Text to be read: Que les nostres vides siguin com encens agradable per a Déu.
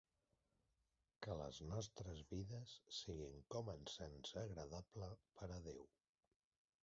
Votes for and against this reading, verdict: 0, 2, rejected